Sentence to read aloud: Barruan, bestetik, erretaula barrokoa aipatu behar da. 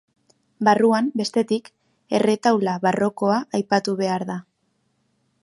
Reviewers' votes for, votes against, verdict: 2, 0, accepted